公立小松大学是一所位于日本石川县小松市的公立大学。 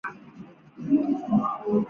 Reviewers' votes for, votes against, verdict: 2, 3, rejected